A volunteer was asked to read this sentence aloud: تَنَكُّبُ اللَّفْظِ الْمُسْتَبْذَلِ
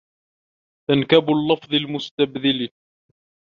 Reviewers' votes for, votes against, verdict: 1, 2, rejected